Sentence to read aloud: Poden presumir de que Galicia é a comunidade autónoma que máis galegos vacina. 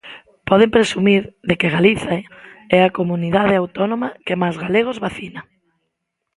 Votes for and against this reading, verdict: 0, 2, rejected